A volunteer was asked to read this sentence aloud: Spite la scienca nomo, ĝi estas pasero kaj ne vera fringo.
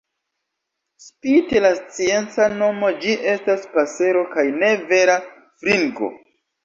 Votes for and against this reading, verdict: 2, 0, accepted